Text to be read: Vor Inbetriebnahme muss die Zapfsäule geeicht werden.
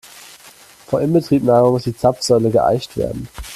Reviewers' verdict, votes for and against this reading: accepted, 2, 0